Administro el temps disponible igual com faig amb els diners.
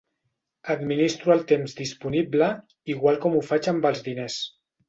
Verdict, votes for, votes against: rejected, 0, 2